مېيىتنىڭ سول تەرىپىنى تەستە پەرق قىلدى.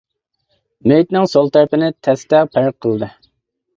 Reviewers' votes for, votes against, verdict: 2, 0, accepted